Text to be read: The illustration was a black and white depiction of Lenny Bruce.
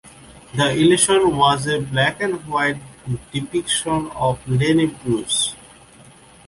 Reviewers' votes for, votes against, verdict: 1, 2, rejected